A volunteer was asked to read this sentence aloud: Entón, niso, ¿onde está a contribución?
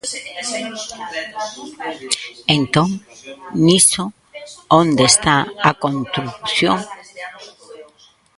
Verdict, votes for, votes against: rejected, 0, 2